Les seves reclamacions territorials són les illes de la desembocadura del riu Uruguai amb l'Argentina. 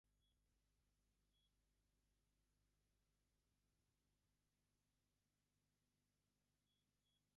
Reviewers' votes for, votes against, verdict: 1, 2, rejected